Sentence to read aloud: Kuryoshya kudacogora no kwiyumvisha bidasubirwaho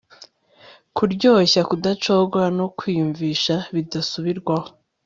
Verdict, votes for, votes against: accepted, 2, 0